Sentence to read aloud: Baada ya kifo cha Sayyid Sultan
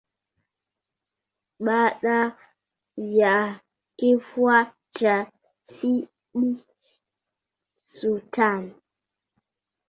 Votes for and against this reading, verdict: 0, 6, rejected